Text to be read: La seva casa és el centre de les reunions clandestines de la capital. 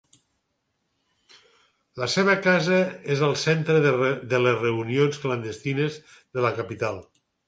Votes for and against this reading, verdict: 0, 4, rejected